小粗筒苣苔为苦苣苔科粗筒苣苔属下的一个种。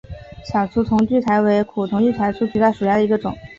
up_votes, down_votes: 7, 0